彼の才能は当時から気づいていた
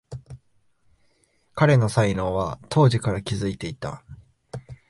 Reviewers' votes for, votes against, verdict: 3, 0, accepted